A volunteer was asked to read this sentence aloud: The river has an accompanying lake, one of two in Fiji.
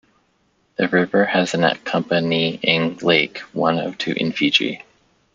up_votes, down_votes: 2, 0